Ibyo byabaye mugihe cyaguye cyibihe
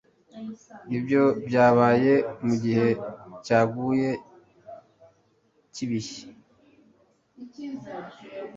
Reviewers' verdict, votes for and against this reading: accepted, 2, 0